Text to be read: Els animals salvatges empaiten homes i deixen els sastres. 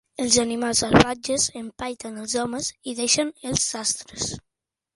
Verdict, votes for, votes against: rejected, 0, 2